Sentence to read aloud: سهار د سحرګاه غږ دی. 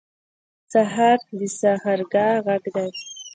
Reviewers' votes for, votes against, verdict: 2, 0, accepted